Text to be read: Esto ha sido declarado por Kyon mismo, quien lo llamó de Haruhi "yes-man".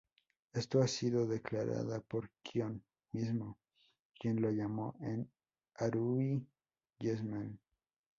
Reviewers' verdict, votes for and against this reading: rejected, 0, 2